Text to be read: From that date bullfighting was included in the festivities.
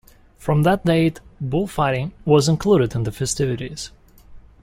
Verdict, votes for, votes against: accepted, 2, 0